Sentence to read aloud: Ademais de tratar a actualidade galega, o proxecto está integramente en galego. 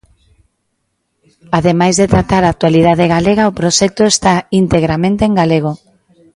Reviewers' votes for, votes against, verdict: 2, 0, accepted